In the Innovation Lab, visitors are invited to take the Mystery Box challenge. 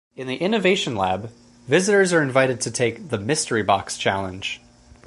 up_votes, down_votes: 4, 0